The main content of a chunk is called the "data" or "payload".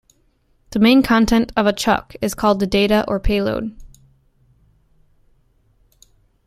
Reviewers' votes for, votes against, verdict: 0, 2, rejected